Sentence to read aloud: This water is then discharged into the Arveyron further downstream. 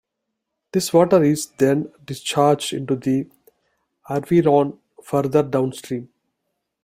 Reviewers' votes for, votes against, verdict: 2, 0, accepted